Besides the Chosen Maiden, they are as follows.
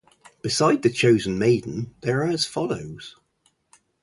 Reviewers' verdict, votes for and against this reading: rejected, 2, 2